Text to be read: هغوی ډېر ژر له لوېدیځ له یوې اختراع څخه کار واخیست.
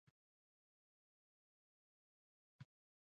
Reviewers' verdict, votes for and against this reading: rejected, 1, 2